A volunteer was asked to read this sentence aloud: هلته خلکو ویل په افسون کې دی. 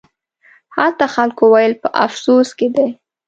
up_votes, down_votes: 1, 2